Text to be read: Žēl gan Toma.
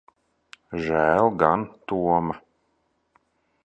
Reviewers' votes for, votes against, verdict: 1, 2, rejected